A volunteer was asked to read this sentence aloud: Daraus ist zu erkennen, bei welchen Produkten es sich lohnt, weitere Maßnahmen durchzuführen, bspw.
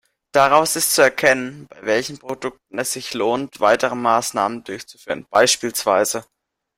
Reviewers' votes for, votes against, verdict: 0, 2, rejected